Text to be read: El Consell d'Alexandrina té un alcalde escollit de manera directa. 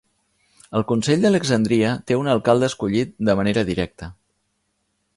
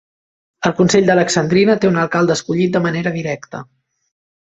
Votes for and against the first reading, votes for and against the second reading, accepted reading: 1, 2, 3, 0, second